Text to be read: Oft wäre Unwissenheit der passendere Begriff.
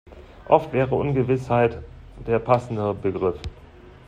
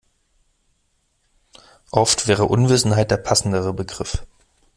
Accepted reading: second